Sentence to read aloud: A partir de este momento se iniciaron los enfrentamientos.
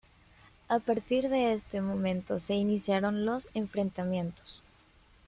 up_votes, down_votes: 1, 2